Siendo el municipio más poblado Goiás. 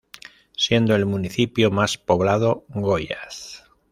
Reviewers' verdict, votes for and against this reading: rejected, 1, 2